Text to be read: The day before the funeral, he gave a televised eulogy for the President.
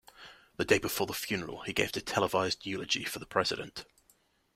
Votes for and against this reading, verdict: 2, 1, accepted